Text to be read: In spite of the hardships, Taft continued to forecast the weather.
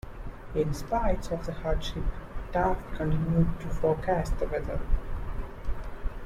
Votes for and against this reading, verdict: 0, 2, rejected